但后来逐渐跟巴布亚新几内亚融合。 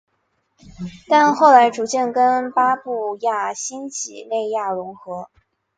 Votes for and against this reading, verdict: 0, 2, rejected